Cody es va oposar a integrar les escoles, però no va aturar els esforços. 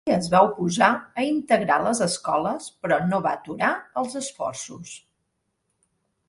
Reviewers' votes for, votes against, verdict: 0, 2, rejected